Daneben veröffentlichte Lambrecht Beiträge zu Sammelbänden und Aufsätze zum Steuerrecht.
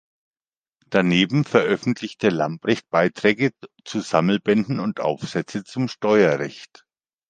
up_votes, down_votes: 1, 2